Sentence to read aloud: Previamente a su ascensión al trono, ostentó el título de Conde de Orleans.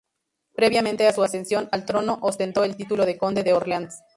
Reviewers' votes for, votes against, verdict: 0, 2, rejected